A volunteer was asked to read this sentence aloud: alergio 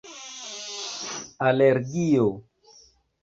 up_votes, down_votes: 2, 0